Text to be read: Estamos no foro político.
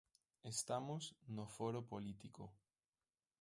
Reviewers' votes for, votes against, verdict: 1, 2, rejected